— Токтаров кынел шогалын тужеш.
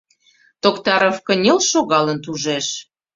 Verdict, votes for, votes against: accepted, 2, 0